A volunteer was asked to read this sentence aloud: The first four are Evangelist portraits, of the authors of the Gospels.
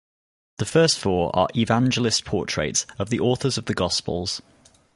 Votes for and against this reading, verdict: 2, 2, rejected